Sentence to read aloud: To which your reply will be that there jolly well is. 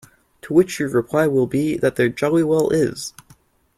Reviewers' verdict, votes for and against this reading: accepted, 2, 0